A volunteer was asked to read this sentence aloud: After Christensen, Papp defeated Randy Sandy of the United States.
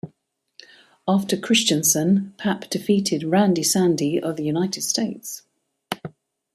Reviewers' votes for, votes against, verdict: 0, 2, rejected